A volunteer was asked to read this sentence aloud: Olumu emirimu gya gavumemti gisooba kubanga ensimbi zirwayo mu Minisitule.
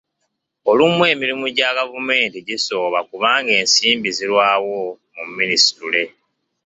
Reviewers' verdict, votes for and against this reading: rejected, 1, 2